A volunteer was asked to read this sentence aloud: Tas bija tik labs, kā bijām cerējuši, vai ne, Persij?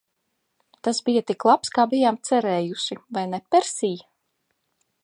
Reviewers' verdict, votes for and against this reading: accepted, 2, 0